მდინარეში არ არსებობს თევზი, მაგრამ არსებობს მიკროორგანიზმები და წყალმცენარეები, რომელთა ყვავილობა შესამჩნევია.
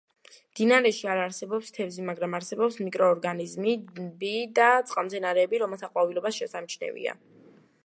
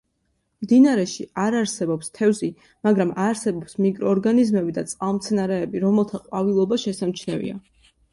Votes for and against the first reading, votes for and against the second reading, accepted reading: 0, 2, 2, 0, second